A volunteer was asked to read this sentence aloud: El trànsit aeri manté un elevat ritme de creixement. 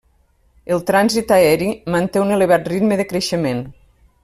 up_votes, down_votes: 3, 0